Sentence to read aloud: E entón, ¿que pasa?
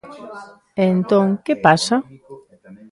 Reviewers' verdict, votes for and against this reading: rejected, 0, 2